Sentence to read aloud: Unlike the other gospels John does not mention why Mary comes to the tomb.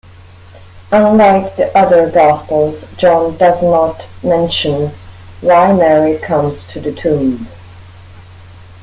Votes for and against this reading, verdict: 2, 0, accepted